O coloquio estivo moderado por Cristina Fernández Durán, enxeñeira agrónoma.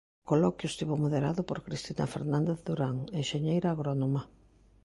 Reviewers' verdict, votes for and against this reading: rejected, 0, 2